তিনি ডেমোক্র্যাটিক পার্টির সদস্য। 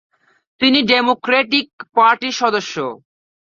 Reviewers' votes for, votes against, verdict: 5, 1, accepted